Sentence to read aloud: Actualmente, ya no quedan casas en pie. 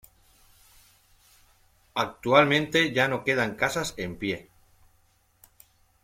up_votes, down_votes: 1, 2